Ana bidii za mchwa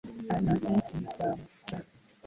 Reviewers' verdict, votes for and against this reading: rejected, 0, 3